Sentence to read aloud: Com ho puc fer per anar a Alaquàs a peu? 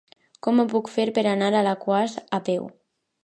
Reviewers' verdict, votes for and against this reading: rejected, 1, 2